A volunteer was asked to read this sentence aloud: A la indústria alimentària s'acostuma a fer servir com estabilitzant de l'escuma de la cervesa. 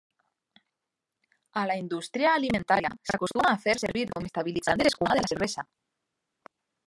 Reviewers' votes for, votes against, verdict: 0, 2, rejected